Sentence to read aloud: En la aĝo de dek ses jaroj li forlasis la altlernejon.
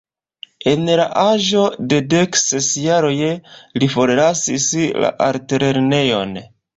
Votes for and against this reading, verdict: 2, 0, accepted